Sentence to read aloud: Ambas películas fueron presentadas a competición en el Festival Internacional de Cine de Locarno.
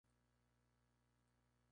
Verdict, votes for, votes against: rejected, 0, 2